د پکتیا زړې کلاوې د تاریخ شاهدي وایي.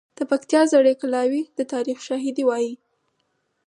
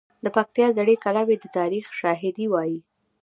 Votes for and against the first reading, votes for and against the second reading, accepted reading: 4, 2, 0, 2, first